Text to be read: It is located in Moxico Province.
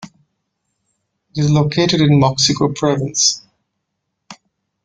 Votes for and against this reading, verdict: 1, 2, rejected